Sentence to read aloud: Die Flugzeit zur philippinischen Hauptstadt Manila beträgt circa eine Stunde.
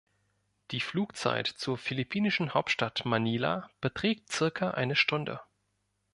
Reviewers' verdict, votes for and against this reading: accepted, 3, 0